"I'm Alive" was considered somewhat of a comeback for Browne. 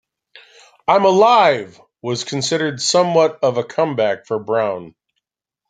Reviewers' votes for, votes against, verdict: 2, 0, accepted